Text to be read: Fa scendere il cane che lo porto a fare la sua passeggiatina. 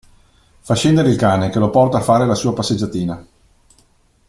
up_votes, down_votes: 2, 1